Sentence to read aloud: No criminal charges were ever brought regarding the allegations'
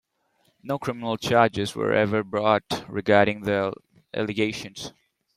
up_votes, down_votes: 2, 1